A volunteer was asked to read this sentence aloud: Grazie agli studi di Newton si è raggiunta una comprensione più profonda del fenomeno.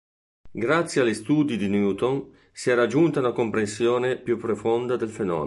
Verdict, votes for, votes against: rejected, 1, 2